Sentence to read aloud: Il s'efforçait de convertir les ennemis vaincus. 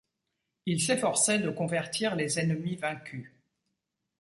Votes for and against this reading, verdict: 2, 0, accepted